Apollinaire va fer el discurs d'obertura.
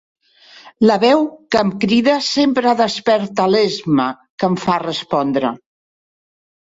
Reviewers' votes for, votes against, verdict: 0, 2, rejected